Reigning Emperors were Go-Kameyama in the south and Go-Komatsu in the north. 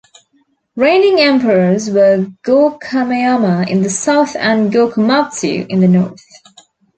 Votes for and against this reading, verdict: 2, 0, accepted